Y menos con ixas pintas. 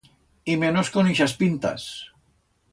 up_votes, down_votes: 2, 0